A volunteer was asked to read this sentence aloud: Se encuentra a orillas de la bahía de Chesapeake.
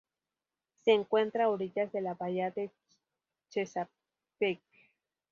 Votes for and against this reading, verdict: 4, 0, accepted